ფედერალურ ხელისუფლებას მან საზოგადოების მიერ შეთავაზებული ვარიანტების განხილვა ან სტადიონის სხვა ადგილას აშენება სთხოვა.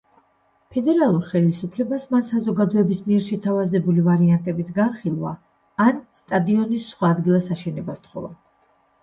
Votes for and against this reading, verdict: 1, 2, rejected